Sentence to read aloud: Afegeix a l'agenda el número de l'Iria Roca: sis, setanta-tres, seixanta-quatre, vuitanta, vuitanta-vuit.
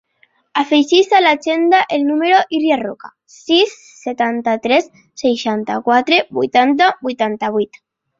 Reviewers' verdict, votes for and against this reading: rejected, 1, 3